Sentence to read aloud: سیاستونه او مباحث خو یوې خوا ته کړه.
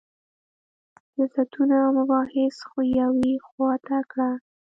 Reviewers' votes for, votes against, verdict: 0, 2, rejected